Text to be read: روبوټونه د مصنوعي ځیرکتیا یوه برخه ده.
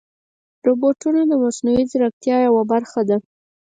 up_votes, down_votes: 0, 4